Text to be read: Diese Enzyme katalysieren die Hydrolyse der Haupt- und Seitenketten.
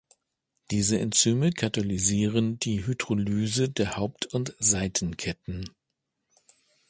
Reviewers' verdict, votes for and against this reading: accepted, 2, 0